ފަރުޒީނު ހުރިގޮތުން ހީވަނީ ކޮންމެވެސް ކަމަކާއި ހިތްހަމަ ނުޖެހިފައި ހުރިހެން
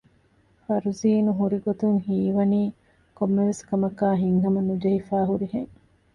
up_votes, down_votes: 2, 0